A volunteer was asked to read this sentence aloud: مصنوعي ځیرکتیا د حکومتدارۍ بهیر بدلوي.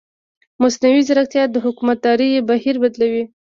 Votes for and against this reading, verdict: 2, 0, accepted